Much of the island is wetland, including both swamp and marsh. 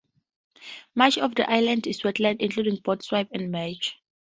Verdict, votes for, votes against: rejected, 0, 2